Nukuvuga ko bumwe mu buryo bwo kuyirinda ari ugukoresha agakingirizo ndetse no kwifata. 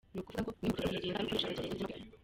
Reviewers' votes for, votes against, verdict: 0, 2, rejected